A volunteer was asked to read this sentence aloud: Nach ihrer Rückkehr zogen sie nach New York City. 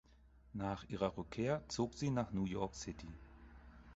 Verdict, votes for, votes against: rejected, 2, 4